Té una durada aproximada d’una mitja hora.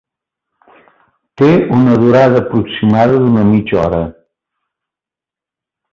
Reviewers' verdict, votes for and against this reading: accepted, 2, 0